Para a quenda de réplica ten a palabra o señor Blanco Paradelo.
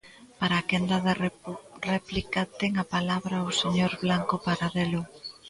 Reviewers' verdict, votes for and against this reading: rejected, 0, 2